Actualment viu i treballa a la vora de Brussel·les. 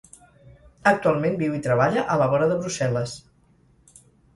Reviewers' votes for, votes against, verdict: 4, 0, accepted